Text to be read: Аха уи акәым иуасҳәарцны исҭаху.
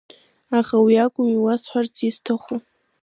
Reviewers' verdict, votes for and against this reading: rejected, 0, 2